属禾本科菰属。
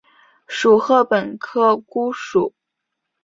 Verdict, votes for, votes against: accepted, 2, 0